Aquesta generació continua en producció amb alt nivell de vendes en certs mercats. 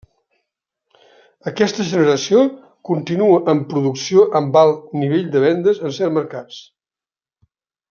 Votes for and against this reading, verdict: 2, 0, accepted